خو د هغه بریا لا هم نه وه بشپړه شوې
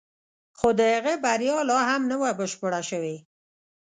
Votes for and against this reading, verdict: 0, 2, rejected